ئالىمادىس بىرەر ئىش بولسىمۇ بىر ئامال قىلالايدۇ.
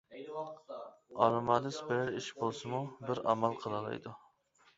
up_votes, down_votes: 1, 2